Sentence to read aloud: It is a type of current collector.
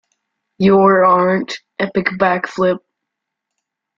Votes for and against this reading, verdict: 0, 2, rejected